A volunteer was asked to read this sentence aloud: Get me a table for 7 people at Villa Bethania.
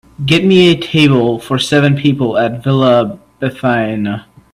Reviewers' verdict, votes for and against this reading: rejected, 0, 2